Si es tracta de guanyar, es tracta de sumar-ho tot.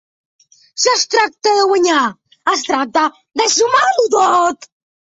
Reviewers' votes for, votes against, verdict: 2, 0, accepted